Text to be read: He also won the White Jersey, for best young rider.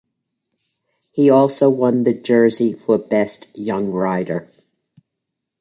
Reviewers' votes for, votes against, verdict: 0, 2, rejected